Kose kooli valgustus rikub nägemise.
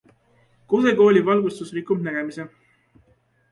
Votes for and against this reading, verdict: 2, 0, accepted